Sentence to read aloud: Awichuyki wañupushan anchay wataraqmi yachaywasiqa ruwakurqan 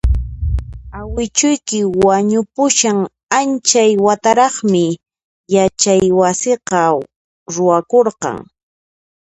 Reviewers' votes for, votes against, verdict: 2, 0, accepted